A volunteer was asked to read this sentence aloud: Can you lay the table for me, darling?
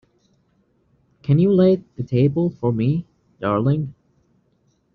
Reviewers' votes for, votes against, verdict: 2, 0, accepted